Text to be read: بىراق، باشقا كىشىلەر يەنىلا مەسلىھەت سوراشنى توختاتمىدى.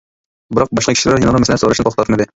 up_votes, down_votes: 0, 2